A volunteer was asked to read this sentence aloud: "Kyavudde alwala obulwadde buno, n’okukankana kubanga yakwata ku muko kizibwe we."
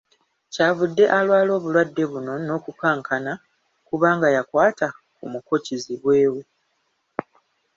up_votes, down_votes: 2, 0